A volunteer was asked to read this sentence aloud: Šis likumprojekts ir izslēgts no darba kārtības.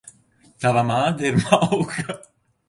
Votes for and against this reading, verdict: 0, 2, rejected